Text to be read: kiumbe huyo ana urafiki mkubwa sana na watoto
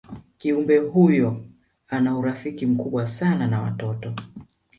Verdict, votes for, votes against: rejected, 1, 2